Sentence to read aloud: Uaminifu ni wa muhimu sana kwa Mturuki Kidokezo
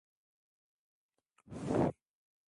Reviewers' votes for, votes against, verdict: 0, 2, rejected